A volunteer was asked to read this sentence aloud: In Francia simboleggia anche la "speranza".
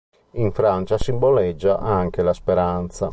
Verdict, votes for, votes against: accepted, 2, 0